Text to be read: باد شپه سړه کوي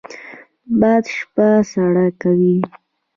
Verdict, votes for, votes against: accepted, 2, 0